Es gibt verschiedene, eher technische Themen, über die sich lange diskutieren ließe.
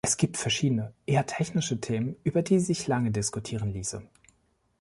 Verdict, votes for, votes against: accepted, 2, 0